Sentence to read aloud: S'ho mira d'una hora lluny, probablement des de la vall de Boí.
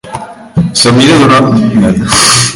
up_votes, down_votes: 0, 2